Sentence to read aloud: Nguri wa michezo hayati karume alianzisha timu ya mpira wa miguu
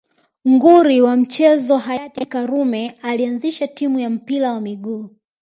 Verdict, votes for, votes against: accepted, 2, 0